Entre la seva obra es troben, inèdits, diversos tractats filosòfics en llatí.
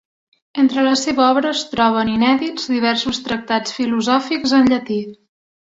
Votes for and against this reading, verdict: 2, 0, accepted